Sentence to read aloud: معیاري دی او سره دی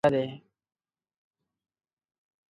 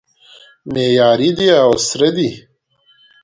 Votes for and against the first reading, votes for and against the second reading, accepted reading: 1, 2, 2, 1, second